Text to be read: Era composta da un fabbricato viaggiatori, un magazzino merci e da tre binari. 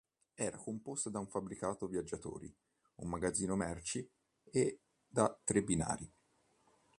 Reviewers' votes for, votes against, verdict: 2, 0, accepted